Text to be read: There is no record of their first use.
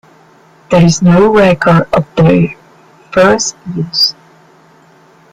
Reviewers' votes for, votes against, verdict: 0, 2, rejected